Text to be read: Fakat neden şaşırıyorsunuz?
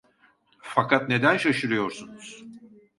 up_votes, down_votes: 2, 0